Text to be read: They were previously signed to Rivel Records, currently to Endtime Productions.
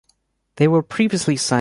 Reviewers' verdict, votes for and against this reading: rejected, 0, 2